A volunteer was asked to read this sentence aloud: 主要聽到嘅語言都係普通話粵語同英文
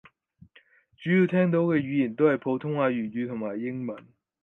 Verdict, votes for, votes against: accepted, 4, 2